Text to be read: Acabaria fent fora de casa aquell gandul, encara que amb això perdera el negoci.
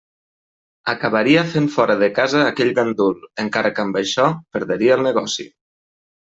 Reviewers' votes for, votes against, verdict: 2, 3, rejected